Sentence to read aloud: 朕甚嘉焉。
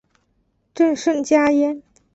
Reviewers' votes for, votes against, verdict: 2, 0, accepted